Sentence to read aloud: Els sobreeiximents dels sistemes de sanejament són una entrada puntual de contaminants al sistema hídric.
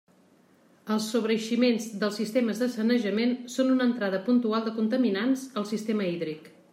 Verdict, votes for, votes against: accepted, 2, 0